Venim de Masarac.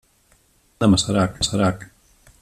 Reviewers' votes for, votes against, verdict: 0, 2, rejected